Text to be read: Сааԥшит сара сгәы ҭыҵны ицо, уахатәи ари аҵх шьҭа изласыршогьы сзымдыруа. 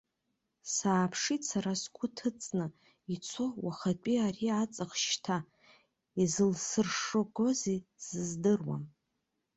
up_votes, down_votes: 0, 2